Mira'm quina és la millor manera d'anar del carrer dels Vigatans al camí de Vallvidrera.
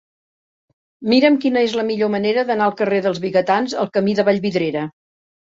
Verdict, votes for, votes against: rejected, 0, 2